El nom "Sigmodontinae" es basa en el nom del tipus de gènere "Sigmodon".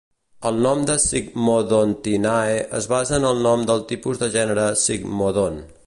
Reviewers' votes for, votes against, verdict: 0, 2, rejected